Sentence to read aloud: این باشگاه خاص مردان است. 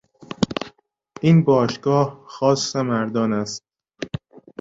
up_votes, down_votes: 2, 0